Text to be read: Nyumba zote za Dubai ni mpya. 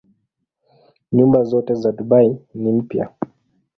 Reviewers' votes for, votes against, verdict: 2, 0, accepted